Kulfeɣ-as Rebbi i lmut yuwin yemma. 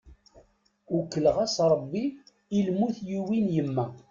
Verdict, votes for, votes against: rejected, 0, 2